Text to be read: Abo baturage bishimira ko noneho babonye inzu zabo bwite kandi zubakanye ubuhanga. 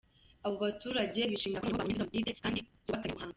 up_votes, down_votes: 0, 2